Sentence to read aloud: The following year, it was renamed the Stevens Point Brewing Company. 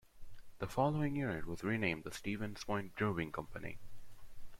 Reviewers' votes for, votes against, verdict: 2, 1, accepted